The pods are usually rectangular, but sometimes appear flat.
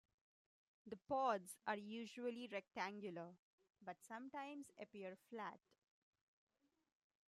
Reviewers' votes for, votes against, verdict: 2, 1, accepted